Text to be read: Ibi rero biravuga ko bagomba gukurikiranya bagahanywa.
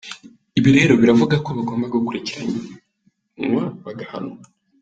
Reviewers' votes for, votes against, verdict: 0, 2, rejected